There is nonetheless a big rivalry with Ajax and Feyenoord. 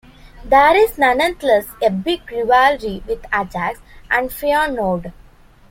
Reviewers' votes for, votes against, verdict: 0, 2, rejected